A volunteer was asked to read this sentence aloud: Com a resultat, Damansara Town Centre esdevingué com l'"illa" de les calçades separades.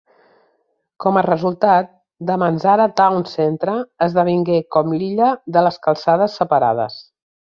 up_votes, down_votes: 2, 0